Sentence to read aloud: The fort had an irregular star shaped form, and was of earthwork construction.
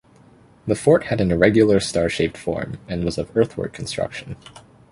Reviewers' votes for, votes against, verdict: 2, 0, accepted